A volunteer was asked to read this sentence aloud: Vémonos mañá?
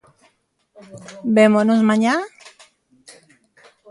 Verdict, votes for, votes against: accepted, 2, 0